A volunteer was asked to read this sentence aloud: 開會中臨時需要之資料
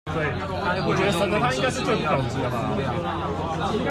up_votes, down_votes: 0, 2